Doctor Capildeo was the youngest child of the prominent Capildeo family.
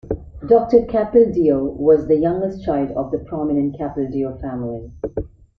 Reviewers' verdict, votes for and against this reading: accepted, 2, 0